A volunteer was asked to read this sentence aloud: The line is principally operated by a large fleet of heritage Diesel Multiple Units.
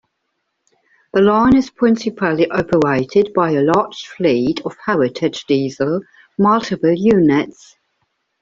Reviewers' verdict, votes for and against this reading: rejected, 0, 2